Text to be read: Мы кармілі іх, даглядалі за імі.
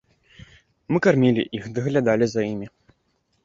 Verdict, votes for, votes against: accepted, 2, 0